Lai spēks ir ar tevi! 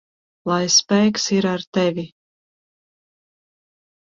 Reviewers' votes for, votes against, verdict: 0, 2, rejected